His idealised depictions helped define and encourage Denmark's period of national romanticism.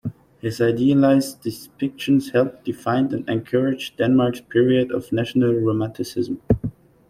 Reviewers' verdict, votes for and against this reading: accepted, 2, 0